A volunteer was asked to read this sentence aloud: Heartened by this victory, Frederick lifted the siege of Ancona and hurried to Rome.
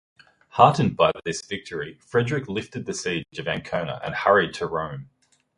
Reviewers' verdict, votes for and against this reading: accepted, 3, 0